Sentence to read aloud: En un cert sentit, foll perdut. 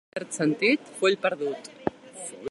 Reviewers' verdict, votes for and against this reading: rejected, 0, 2